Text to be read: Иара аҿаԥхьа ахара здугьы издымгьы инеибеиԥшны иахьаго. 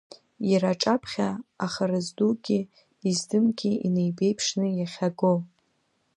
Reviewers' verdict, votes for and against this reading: rejected, 1, 2